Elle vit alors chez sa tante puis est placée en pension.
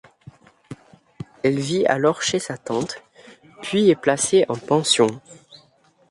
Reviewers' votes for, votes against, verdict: 2, 0, accepted